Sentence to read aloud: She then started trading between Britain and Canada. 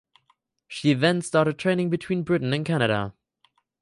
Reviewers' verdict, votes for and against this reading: accepted, 4, 0